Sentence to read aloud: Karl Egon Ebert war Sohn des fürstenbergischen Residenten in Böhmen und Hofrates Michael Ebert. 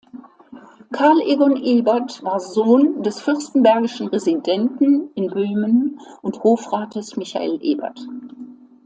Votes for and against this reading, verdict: 2, 0, accepted